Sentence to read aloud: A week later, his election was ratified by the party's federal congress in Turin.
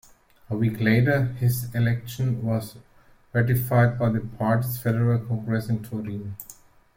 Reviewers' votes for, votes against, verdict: 2, 0, accepted